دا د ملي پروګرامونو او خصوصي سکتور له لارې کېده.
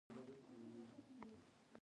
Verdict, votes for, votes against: rejected, 1, 2